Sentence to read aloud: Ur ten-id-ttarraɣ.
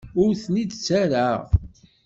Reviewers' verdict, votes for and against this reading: accepted, 2, 0